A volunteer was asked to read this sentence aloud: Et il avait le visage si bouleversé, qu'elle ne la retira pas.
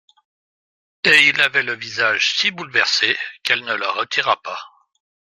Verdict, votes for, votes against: accepted, 2, 0